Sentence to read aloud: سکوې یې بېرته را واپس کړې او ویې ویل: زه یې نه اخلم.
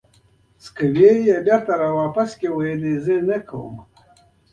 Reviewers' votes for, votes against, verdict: 0, 2, rejected